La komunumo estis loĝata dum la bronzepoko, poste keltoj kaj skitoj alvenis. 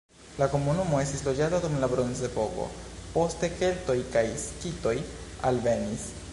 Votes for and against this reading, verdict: 1, 2, rejected